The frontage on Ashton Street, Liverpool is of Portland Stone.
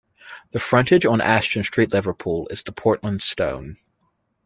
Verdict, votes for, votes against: rejected, 0, 2